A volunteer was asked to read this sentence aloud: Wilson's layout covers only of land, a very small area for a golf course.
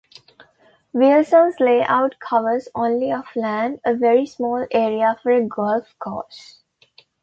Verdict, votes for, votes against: accepted, 2, 1